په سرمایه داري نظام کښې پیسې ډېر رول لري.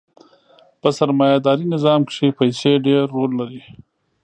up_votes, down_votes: 1, 2